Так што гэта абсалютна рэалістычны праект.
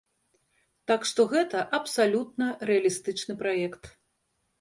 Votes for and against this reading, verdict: 2, 0, accepted